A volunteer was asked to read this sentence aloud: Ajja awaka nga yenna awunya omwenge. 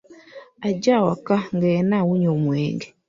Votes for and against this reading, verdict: 2, 0, accepted